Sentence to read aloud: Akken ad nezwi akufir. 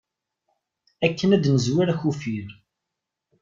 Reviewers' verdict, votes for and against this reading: rejected, 1, 2